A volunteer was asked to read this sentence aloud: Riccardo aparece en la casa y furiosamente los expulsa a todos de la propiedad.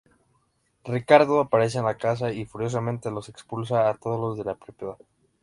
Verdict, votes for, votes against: accepted, 2, 0